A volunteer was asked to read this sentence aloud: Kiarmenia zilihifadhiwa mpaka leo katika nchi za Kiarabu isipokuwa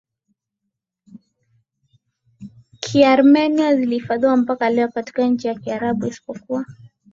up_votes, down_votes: 4, 1